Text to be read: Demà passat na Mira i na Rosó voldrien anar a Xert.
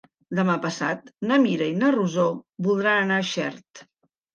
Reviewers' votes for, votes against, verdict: 0, 2, rejected